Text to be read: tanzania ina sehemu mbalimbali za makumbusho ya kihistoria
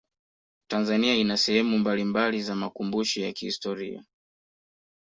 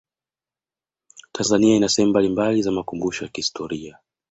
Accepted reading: first